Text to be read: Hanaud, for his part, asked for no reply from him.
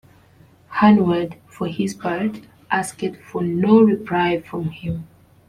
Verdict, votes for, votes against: accepted, 2, 0